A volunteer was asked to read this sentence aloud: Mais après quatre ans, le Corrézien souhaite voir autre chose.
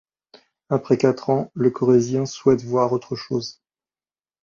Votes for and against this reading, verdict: 1, 3, rejected